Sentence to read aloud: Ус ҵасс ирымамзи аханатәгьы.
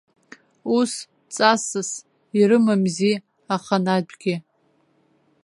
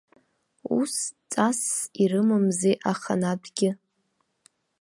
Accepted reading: second